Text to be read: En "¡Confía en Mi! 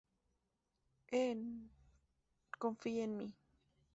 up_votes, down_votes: 2, 0